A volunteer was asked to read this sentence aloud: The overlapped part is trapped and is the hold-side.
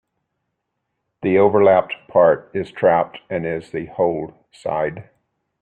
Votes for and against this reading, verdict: 3, 0, accepted